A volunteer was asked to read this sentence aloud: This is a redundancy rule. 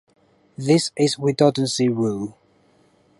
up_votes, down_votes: 0, 2